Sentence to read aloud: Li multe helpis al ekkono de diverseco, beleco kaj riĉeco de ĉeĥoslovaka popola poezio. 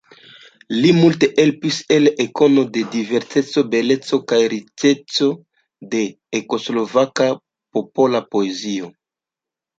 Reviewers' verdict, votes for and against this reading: rejected, 1, 2